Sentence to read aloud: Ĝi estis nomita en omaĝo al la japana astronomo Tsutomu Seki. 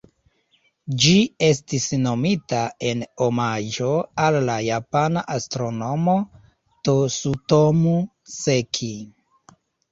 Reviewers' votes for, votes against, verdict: 1, 2, rejected